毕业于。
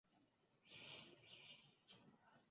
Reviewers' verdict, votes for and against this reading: rejected, 0, 3